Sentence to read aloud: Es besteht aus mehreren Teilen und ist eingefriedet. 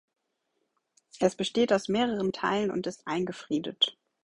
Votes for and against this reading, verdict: 2, 0, accepted